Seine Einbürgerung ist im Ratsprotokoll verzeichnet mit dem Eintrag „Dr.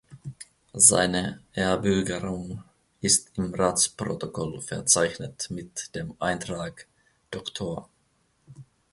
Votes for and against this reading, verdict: 0, 2, rejected